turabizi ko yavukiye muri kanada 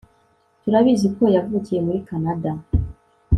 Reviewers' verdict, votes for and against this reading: accepted, 2, 0